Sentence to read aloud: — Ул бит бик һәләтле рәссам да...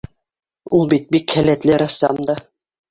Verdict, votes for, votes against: accepted, 3, 2